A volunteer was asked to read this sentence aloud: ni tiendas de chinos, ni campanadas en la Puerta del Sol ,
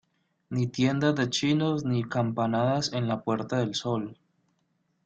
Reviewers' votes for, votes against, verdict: 1, 2, rejected